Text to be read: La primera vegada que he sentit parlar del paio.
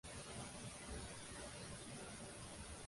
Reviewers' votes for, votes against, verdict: 0, 2, rejected